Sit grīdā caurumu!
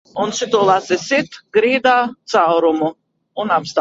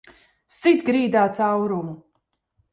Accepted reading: second